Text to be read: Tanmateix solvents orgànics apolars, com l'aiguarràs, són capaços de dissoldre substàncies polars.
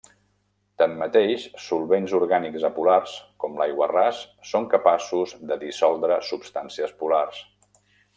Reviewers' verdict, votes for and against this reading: accepted, 2, 0